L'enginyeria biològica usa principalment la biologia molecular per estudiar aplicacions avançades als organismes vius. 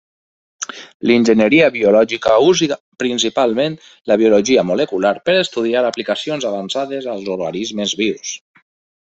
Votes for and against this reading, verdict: 1, 2, rejected